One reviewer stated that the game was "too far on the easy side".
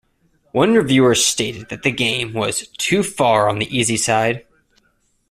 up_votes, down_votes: 2, 0